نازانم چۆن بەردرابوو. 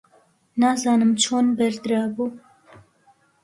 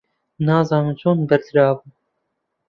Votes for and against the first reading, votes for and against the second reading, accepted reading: 2, 0, 0, 2, first